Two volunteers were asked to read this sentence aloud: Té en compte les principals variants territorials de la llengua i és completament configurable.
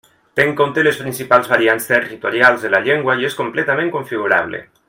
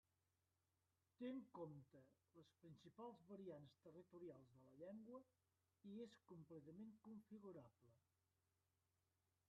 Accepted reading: first